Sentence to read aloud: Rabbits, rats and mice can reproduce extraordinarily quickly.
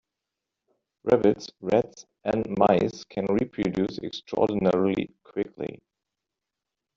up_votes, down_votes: 1, 2